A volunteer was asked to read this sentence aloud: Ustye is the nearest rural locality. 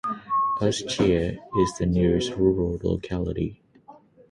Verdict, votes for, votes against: accepted, 6, 0